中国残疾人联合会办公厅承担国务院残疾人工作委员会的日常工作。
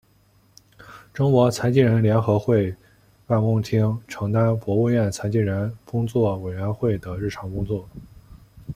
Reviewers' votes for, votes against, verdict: 2, 1, accepted